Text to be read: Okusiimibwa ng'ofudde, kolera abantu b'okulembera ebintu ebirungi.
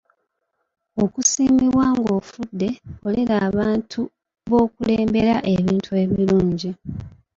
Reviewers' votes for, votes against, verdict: 2, 0, accepted